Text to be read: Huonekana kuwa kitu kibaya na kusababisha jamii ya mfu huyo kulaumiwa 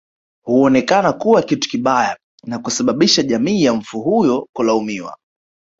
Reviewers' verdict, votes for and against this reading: accepted, 2, 1